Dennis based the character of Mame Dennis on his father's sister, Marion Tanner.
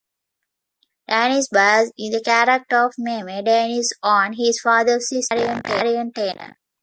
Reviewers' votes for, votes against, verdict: 0, 2, rejected